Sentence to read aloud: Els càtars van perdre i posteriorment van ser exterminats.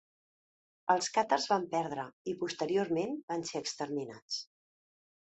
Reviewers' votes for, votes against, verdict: 2, 0, accepted